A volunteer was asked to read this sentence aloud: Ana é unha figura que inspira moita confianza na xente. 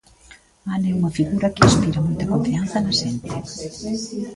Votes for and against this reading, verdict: 2, 3, rejected